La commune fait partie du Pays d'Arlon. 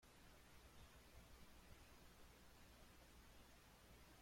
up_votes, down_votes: 0, 2